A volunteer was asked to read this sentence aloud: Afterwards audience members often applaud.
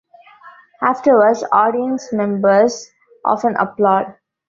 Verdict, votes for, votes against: accepted, 2, 1